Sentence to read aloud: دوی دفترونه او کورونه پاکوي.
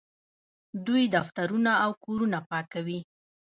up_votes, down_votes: 2, 0